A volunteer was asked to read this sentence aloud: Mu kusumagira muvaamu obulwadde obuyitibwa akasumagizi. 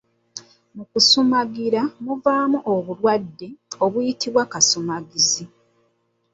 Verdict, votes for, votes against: rejected, 1, 3